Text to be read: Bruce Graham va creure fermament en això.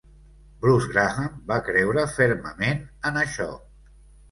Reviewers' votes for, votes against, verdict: 2, 0, accepted